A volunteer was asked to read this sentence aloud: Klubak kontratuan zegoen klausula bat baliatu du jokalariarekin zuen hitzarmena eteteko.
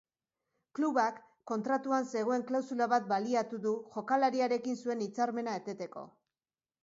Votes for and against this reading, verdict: 3, 0, accepted